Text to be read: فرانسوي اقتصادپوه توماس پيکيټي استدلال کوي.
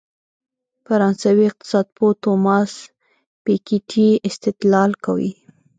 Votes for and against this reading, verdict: 1, 2, rejected